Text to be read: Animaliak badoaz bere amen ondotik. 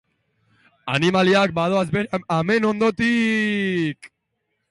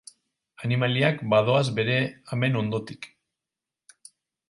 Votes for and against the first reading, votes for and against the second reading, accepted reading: 0, 2, 4, 0, second